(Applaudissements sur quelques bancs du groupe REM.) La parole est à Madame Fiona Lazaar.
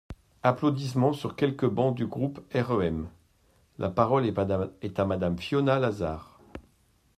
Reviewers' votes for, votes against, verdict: 0, 2, rejected